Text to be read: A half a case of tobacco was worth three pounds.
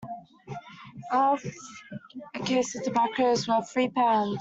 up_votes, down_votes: 0, 2